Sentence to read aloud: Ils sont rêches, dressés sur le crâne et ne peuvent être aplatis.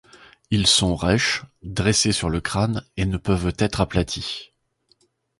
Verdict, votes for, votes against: accepted, 2, 0